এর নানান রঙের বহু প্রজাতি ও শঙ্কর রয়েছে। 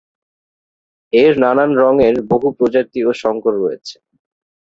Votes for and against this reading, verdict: 7, 0, accepted